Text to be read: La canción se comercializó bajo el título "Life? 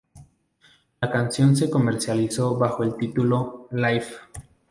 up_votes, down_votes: 2, 0